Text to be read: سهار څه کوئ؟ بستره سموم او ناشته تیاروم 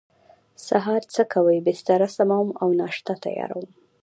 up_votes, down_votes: 1, 2